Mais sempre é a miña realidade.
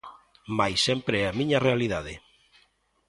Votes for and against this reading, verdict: 2, 0, accepted